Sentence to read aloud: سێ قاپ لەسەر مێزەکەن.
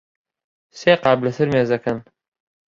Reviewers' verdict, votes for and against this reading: accepted, 2, 0